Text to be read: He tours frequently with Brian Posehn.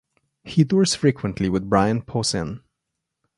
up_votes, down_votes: 2, 0